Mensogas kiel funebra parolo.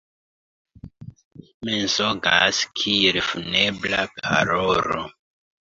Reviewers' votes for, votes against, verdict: 0, 2, rejected